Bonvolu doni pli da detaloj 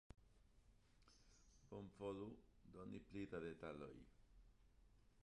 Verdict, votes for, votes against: accepted, 2, 1